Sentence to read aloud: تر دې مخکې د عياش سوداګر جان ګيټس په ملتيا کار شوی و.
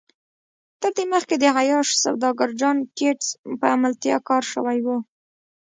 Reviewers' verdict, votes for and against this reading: rejected, 1, 2